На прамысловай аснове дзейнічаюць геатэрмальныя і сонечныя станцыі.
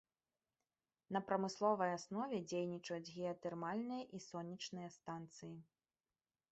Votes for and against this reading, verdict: 2, 1, accepted